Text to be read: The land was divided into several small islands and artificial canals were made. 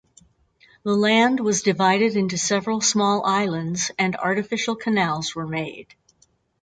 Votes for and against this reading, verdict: 2, 4, rejected